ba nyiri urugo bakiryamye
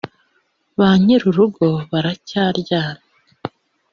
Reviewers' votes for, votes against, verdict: 0, 2, rejected